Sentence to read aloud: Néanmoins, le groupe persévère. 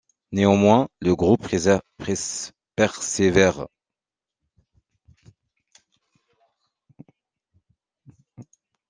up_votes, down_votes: 0, 2